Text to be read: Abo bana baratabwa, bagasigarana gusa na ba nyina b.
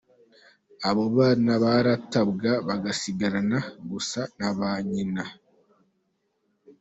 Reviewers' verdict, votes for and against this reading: accepted, 2, 0